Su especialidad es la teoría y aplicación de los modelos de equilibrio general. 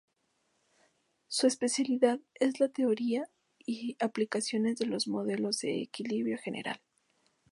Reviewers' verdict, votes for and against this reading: rejected, 0, 4